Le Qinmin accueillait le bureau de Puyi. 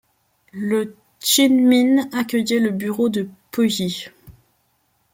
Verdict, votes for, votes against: rejected, 1, 2